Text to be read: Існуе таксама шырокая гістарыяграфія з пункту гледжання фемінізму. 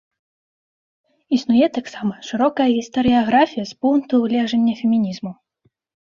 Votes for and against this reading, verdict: 2, 0, accepted